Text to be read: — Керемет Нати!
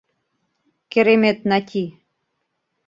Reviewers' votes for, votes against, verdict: 2, 0, accepted